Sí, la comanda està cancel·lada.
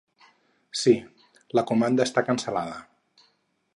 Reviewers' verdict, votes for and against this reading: accepted, 4, 0